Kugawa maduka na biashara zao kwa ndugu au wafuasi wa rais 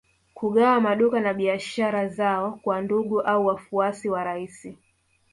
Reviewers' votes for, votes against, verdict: 2, 0, accepted